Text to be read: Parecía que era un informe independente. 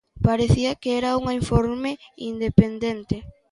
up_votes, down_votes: 0, 2